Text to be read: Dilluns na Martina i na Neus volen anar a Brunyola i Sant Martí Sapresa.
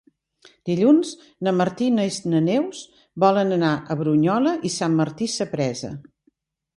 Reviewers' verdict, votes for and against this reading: rejected, 0, 2